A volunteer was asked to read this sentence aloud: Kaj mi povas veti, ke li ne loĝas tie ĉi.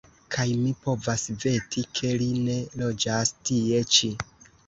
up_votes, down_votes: 0, 2